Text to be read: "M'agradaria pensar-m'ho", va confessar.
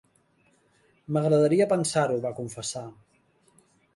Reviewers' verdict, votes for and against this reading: rejected, 2, 3